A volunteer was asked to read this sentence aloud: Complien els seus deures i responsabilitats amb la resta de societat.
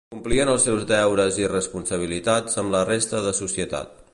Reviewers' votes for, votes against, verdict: 3, 0, accepted